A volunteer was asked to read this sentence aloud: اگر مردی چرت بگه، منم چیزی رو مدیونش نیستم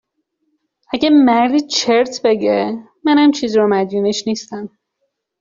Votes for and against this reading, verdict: 2, 0, accepted